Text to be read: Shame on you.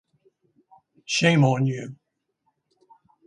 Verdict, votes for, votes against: rejected, 0, 2